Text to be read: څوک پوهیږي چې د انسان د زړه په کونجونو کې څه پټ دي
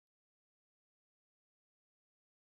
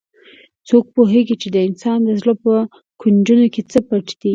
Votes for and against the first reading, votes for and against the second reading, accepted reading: 0, 2, 2, 0, second